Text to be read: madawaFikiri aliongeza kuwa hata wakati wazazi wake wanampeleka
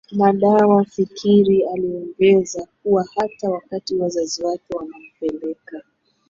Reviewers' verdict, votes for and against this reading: accepted, 2, 1